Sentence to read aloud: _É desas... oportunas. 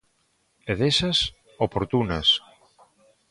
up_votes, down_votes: 2, 0